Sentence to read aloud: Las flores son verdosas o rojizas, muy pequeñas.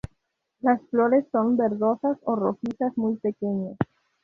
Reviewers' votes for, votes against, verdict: 2, 0, accepted